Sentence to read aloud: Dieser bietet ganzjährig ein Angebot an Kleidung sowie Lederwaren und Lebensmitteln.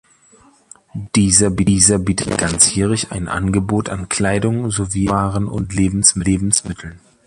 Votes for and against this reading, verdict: 0, 2, rejected